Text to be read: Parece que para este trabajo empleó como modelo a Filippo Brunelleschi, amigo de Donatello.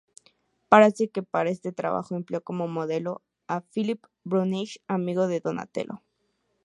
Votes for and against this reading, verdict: 0, 2, rejected